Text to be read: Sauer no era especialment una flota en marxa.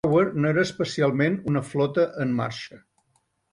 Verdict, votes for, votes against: rejected, 0, 2